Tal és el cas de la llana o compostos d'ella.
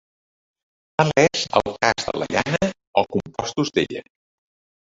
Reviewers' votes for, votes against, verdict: 0, 3, rejected